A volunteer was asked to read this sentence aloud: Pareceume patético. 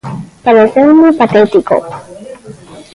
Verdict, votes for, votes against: rejected, 1, 2